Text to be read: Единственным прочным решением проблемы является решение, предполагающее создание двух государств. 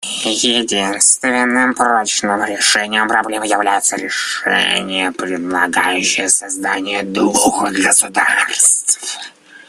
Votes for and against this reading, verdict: 0, 2, rejected